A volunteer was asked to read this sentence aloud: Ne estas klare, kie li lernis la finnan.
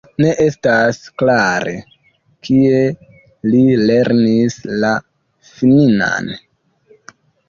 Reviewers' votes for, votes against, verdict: 1, 2, rejected